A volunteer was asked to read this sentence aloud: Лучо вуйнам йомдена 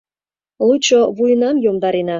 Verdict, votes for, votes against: rejected, 0, 2